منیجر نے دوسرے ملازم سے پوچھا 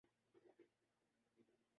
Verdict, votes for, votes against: rejected, 0, 2